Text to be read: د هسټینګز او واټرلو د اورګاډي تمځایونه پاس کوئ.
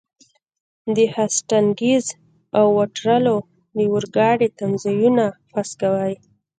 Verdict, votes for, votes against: rejected, 0, 2